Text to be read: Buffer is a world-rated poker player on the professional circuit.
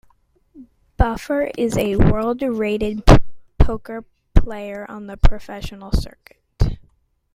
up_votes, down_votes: 2, 0